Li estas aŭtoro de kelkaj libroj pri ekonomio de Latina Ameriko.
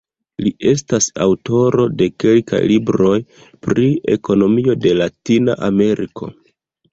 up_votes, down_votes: 0, 2